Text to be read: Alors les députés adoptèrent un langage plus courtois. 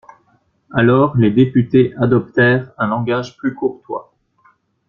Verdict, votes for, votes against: accepted, 2, 0